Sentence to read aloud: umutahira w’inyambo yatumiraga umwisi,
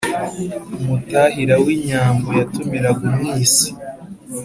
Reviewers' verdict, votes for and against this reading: accepted, 2, 0